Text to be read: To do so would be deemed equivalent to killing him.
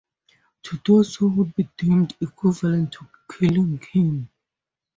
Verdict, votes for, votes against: rejected, 2, 2